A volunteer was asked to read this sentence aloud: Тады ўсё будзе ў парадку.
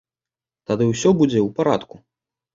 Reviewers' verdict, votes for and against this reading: accepted, 2, 0